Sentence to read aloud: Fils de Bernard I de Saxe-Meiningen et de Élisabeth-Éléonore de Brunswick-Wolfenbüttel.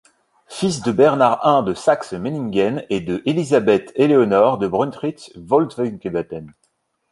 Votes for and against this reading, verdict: 0, 2, rejected